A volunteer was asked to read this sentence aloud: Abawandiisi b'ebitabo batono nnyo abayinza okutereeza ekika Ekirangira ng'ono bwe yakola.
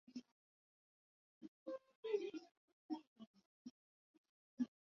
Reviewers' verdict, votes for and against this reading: rejected, 0, 3